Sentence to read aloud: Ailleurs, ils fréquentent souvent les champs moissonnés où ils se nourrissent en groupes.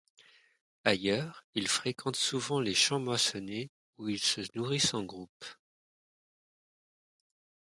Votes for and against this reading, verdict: 1, 2, rejected